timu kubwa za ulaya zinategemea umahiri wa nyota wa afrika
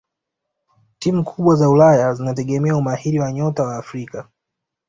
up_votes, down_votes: 2, 0